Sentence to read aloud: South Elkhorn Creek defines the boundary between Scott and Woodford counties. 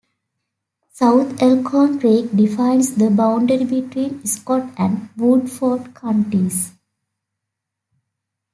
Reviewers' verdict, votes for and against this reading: accepted, 2, 0